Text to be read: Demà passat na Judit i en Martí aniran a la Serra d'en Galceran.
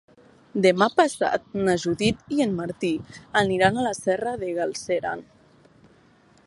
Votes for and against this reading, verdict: 1, 4, rejected